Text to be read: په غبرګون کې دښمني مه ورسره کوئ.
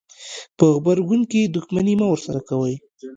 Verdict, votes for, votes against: accepted, 2, 1